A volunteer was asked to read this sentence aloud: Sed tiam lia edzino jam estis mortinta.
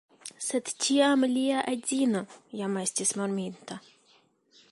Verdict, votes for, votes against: rejected, 1, 2